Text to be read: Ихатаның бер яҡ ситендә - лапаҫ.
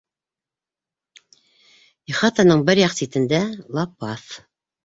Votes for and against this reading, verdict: 1, 2, rejected